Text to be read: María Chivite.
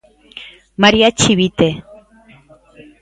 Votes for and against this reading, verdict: 2, 0, accepted